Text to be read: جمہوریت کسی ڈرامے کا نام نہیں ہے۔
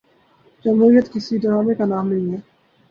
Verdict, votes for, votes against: accepted, 2, 0